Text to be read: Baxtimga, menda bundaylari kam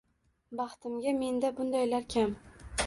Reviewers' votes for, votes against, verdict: 1, 2, rejected